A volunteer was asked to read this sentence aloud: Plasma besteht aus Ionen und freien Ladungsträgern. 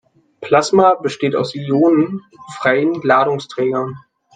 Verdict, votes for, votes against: rejected, 1, 2